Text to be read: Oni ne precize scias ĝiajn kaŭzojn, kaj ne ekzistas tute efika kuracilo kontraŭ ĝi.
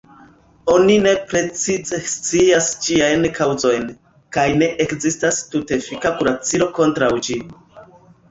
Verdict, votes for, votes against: rejected, 1, 2